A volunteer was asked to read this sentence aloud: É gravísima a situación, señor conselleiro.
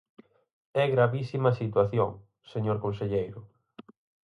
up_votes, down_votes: 4, 0